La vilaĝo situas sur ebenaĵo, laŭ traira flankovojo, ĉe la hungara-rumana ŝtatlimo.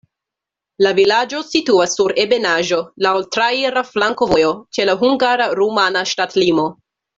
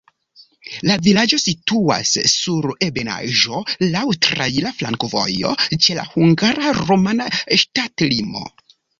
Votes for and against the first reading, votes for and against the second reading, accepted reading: 2, 0, 1, 2, first